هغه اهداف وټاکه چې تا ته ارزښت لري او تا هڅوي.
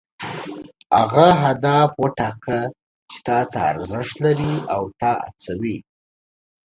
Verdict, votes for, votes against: rejected, 1, 2